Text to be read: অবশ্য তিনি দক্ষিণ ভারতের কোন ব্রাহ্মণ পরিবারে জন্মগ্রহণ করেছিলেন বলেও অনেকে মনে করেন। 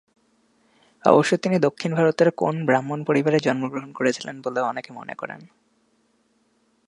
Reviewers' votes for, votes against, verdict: 1, 2, rejected